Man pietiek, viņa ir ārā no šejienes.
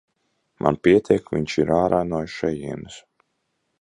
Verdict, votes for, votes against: rejected, 0, 2